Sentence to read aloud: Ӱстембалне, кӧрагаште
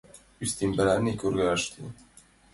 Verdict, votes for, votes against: rejected, 0, 2